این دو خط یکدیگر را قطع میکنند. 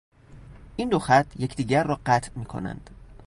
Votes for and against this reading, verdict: 2, 0, accepted